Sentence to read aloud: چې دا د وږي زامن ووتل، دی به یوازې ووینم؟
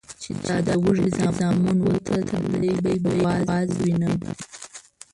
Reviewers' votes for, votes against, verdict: 0, 2, rejected